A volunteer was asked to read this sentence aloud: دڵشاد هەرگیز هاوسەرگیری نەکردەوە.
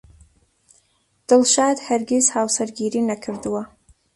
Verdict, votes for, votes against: accepted, 2, 1